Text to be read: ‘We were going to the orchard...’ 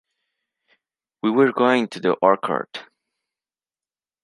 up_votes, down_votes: 1, 2